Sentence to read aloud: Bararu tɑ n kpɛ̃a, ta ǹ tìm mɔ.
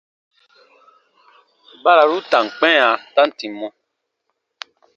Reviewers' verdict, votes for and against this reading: rejected, 1, 2